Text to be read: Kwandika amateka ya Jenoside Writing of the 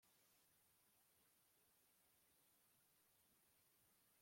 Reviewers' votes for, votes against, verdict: 0, 2, rejected